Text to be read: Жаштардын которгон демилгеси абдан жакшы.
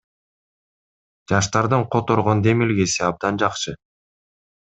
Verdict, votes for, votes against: accepted, 2, 1